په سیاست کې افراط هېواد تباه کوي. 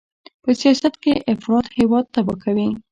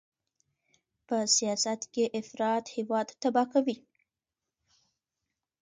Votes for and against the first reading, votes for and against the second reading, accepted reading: 0, 2, 2, 0, second